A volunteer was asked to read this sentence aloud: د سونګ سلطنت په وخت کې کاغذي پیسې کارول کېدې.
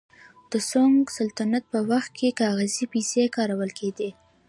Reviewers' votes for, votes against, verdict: 1, 2, rejected